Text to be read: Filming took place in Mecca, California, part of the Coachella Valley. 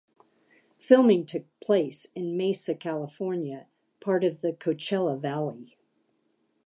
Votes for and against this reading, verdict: 0, 3, rejected